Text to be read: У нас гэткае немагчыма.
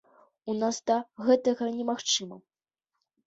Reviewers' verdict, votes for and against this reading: rejected, 0, 2